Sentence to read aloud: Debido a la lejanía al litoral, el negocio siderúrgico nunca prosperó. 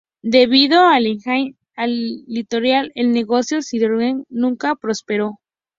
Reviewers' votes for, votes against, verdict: 0, 2, rejected